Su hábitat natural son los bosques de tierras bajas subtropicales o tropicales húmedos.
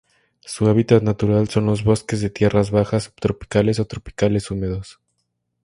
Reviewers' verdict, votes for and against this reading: rejected, 0, 2